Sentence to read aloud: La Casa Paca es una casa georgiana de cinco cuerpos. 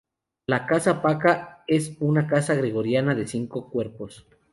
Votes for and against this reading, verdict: 0, 2, rejected